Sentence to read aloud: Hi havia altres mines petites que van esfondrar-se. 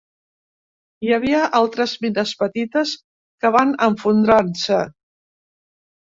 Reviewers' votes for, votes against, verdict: 0, 2, rejected